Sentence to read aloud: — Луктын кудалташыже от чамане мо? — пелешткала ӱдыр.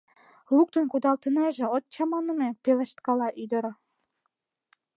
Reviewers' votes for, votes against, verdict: 0, 2, rejected